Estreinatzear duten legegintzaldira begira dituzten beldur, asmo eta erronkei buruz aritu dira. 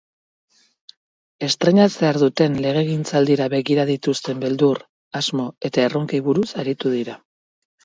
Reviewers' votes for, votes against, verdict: 6, 0, accepted